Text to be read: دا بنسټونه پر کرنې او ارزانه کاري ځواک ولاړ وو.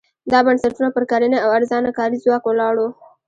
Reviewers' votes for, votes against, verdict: 0, 2, rejected